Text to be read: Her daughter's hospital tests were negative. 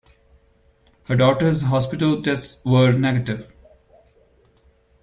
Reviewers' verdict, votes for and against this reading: accepted, 2, 0